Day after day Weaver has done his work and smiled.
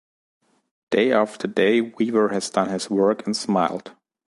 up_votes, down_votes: 2, 0